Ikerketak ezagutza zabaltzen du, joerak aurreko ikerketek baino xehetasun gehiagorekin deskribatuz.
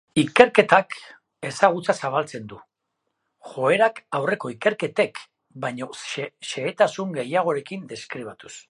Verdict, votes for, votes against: rejected, 1, 2